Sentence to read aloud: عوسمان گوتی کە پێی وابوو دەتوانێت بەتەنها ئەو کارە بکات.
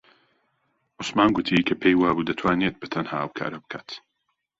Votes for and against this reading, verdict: 2, 0, accepted